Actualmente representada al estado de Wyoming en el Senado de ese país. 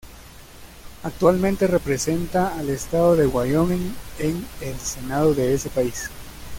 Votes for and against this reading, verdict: 2, 0, accepted